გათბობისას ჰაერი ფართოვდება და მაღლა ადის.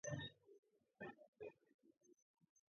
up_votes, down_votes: 2, 1